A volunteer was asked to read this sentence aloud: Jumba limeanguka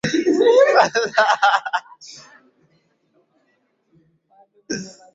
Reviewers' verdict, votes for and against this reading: rejected, 0, 3